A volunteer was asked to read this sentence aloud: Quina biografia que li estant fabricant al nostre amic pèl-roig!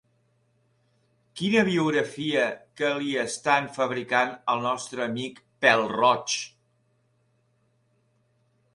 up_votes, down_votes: 2, 0